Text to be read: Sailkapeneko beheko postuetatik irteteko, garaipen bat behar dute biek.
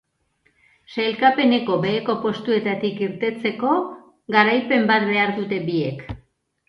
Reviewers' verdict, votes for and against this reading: rejected, 1, 2